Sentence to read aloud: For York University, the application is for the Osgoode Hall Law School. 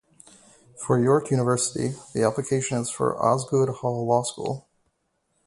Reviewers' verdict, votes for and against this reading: rejected, 0, 2